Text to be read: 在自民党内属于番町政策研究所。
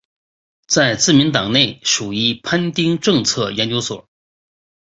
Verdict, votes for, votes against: accepted, 2, 0